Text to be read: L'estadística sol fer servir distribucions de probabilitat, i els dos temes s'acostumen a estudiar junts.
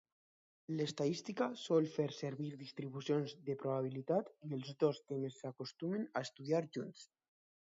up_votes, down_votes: 2, 0